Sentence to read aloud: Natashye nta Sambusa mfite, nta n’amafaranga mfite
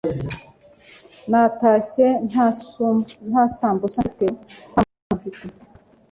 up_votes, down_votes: 2, 3